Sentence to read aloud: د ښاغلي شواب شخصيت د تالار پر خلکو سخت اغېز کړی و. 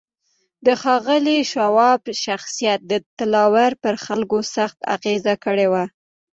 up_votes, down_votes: 0, 2